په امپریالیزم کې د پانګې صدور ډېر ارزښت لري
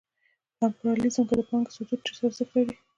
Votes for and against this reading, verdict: 2, 1, accepted